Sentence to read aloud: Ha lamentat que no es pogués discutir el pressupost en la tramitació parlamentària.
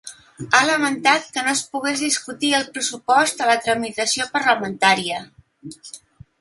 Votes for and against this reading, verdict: 2, 1, accepted